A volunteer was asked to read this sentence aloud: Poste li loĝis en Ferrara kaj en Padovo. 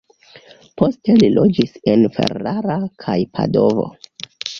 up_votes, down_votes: 1, 2